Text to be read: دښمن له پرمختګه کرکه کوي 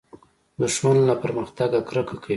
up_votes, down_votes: 1, 2